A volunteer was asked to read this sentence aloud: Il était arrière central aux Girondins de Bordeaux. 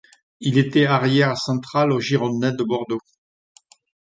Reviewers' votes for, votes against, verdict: 2, 0, accepted